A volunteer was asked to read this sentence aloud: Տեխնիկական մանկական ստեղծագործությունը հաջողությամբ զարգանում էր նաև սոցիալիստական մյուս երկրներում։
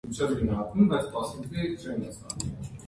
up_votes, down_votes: 0, 2